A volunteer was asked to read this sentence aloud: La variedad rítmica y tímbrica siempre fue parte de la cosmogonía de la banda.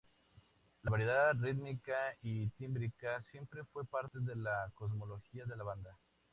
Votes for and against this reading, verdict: 2, 0, accepted